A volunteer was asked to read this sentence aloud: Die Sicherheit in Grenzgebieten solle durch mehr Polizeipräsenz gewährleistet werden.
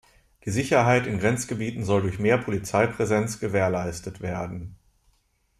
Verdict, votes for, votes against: rejected, 0, 2